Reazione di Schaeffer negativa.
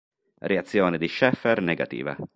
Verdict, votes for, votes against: accepted, 4, 0